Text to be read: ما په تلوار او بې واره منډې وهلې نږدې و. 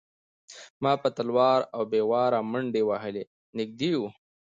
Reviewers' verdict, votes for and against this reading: accepted, 2, 0